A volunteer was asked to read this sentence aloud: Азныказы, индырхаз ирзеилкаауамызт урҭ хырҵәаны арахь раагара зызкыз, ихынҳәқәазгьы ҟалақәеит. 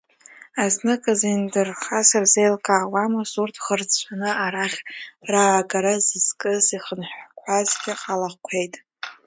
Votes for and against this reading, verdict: 0, 2, rejected